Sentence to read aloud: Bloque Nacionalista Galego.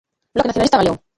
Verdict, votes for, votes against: rejected, 0, 2